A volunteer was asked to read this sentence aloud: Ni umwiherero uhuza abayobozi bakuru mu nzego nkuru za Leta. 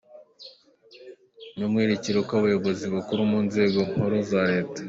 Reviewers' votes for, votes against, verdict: 1, 2, rejected